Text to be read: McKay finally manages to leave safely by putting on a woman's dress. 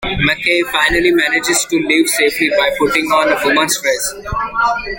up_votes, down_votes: 0, 2